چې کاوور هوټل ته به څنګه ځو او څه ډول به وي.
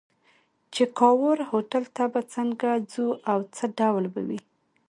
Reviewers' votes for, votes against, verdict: 2, 0, accepted